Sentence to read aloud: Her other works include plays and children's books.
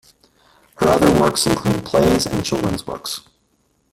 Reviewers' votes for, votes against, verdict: 1, 2, rejected